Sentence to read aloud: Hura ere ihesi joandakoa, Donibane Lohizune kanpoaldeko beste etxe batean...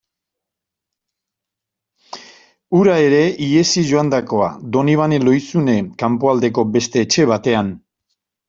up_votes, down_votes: 2, 0